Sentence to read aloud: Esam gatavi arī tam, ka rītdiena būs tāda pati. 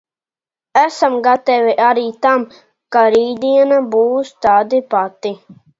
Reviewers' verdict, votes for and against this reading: rejected, 1, 2